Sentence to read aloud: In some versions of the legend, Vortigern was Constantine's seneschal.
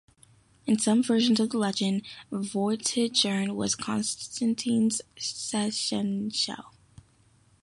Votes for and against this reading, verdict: 0, 2, rejected